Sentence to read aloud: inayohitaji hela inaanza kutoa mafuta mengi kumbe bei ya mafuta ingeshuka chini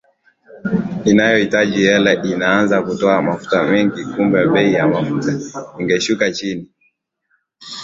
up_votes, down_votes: 2, 0